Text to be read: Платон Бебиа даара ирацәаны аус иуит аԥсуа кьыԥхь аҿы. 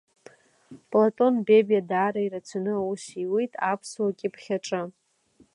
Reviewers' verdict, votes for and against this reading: accepted, 2, 1